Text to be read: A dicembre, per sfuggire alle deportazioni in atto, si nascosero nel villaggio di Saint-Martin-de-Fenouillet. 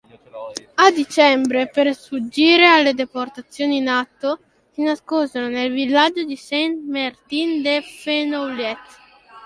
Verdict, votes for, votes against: rejected, 1, 2